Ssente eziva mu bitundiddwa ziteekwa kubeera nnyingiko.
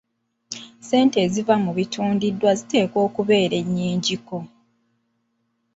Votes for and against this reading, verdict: 1, 2, rejected